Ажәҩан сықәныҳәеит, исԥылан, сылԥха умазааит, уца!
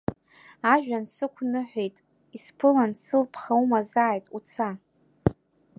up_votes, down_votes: 2, 0